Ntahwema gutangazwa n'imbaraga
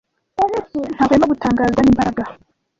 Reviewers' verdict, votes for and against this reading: rejected, 0, 2